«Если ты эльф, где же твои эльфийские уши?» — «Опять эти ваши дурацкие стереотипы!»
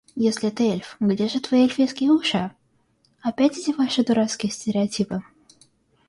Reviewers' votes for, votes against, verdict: 2, 0, accepted